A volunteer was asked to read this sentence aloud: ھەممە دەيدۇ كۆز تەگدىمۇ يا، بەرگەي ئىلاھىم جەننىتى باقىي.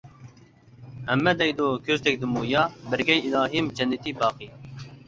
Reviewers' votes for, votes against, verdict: 2, 0, accepted